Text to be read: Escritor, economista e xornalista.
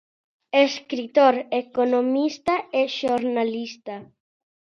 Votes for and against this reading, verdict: 2, 0, accepted